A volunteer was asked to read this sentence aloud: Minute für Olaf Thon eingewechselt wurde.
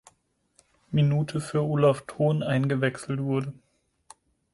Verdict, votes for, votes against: accepted, 4, 0